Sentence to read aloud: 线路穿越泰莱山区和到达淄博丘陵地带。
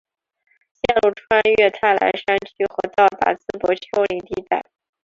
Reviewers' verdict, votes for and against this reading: accepted, 4, 2